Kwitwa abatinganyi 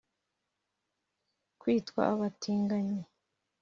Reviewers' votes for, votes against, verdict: 3, 0, accepted